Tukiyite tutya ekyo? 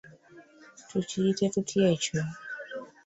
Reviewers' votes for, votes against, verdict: 2, 0, accepted